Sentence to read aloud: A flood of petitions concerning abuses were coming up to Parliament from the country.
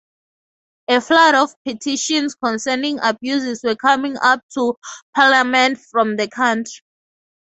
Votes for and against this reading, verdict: 2, 0, accepted